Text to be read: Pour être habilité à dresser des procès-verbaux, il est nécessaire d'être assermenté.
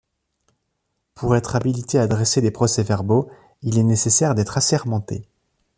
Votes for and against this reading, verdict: 2, 0, accepted